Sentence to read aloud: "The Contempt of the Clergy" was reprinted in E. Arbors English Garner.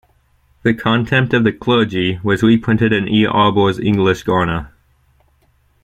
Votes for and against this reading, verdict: 1, 2, rejected